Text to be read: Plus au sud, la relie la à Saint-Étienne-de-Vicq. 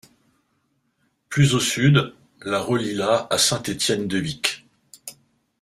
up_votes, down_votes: 2, 0